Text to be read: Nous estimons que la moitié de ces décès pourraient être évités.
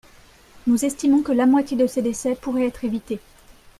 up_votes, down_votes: 1, 2